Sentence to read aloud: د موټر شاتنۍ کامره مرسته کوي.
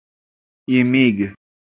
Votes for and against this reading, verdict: 0, 2, rejected